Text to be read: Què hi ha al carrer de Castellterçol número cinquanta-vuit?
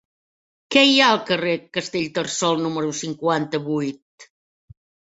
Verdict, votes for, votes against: rejected, 0, 2